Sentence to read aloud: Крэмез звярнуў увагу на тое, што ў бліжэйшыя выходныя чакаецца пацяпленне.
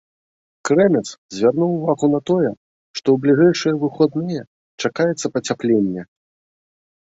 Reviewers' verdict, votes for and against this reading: rejected, 1, 2